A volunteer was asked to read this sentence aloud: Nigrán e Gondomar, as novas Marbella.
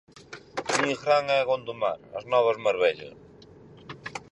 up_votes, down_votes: 4, 0